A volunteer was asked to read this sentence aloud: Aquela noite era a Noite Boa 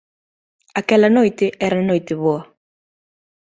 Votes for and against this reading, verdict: 2, 0, accepted